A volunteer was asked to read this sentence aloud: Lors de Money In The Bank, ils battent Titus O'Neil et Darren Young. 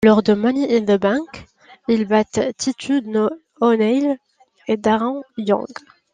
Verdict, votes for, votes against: rejected, 1, 2